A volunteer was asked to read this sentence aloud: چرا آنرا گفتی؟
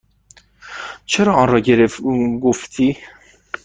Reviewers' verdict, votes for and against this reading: rejected, 1, 2